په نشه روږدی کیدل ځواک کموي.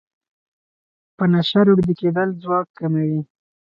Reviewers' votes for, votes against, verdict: 2, 2, rejected